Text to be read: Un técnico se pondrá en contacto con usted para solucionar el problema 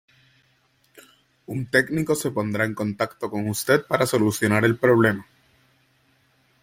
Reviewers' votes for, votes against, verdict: 2, 0, accepted